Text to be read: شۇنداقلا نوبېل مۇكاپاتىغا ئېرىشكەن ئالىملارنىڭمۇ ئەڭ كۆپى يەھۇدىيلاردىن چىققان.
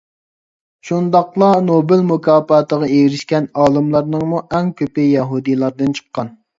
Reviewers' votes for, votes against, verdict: 2, 0, accepted